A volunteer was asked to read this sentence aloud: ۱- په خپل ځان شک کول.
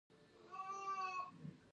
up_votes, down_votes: 0, 2